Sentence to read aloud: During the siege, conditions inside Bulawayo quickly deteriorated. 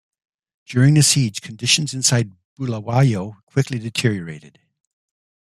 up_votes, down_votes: 2, 1